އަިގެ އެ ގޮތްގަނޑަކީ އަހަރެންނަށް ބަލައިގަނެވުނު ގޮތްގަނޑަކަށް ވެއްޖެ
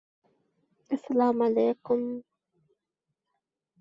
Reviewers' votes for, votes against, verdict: 0, 2, rejected